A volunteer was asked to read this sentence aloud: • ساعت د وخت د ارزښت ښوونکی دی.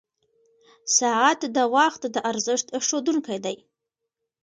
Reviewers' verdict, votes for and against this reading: accepted, 2, 1